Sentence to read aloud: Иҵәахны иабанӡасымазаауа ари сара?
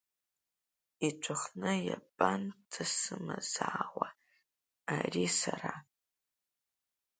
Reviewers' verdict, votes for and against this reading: rejected, 0, 2